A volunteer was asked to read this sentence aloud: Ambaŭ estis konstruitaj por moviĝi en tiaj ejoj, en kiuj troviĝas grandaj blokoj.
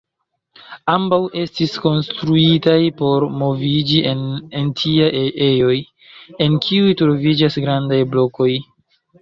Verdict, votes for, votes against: rejected, 0, 2